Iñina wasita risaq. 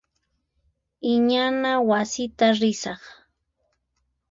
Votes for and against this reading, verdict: 2, 4, rejected